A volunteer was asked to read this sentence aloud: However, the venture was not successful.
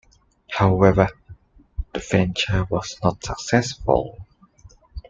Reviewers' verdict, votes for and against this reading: accepted, 2, 0